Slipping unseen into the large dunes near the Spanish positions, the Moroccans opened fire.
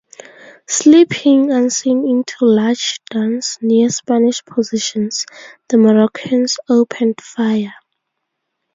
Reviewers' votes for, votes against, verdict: 0, 2, rejected